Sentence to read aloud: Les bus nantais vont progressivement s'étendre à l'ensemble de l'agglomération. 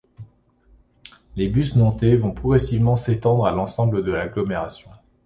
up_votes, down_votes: 2, 0